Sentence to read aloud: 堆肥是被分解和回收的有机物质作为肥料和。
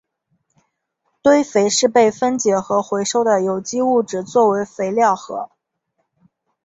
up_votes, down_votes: 7, 0